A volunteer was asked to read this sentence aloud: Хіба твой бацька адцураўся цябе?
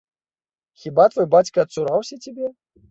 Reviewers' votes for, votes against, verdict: 2, 0, accepted